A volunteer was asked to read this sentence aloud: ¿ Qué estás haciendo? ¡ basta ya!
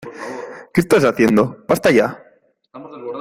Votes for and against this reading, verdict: 2, 0, accepted